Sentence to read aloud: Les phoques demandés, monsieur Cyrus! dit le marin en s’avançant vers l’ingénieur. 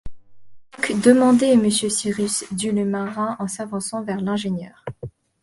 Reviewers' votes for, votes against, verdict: 0, 2, rejected